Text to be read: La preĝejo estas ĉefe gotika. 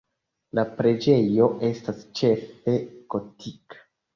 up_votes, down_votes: 2, 0